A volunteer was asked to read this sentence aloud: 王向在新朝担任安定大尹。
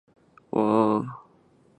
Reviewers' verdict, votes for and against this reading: rejected, 2, 7